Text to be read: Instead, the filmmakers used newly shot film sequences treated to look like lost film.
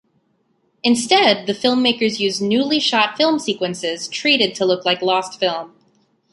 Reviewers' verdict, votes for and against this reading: accepted, 2, 0